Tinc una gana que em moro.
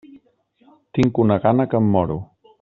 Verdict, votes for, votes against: accepted, 3, 0